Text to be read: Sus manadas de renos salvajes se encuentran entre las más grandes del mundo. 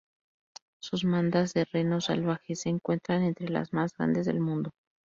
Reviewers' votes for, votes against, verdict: 0, 4, rejected